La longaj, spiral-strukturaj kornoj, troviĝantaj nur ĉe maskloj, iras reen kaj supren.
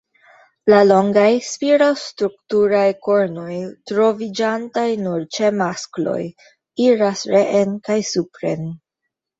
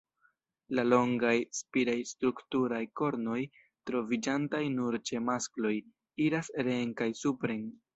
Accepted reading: first